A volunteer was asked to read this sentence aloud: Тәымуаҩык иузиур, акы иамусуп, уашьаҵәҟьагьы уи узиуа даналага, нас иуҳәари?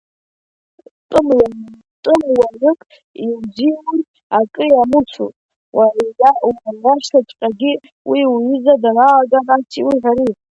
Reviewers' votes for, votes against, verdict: 0, 2, rejected